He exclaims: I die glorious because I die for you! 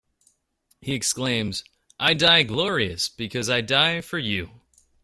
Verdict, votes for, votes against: accepted, 2, 0